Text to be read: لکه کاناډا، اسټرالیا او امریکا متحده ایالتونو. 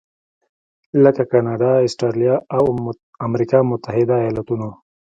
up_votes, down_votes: 2, 0